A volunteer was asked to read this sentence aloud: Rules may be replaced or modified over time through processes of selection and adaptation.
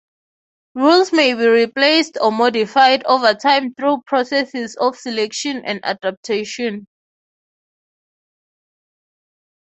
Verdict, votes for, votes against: accepted, 3, 0